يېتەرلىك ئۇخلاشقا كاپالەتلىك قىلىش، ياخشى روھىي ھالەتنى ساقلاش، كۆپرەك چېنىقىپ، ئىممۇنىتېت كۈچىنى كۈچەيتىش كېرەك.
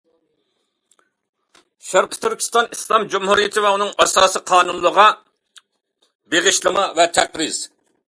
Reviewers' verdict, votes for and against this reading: rejected, 0, 2